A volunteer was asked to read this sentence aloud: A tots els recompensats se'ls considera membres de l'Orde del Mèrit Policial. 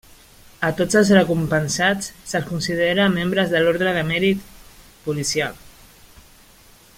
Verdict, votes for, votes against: rejected, 0, 2